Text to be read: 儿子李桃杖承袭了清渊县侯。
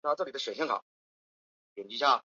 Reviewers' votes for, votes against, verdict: 0, 2, rejected